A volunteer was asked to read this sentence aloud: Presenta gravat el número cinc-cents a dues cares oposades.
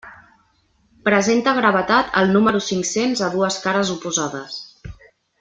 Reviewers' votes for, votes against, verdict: 0, 2, rejected